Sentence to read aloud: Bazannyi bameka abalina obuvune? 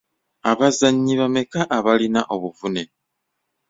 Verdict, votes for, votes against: rejected, 1, 2